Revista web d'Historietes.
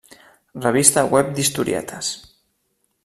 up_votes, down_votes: 3, 0